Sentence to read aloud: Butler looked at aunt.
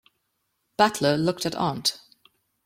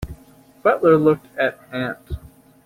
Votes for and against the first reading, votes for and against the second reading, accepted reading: 2, 0, 0, 2, first